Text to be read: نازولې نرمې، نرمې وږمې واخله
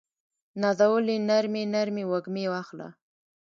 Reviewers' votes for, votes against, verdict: 0, 2, rejected